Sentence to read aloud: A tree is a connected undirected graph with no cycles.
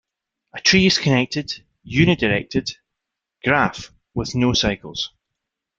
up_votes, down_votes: 2, 1